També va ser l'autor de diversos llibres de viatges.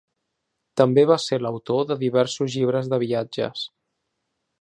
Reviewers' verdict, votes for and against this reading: accepted, 3, 0